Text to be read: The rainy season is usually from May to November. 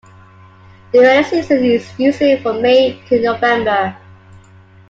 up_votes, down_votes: 1, 2